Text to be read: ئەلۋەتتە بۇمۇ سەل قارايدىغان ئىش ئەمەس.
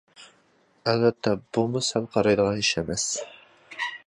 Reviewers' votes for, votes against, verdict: 2, 0, accepted